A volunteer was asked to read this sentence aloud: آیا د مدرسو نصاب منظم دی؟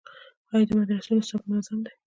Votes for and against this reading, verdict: 1, 2, rejected